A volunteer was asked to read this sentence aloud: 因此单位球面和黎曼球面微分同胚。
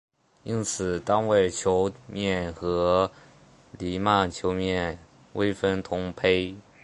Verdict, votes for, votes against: accepted, 2, 0